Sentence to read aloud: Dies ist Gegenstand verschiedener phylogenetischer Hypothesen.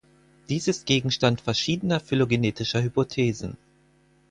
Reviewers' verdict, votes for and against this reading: accepted, 4, 0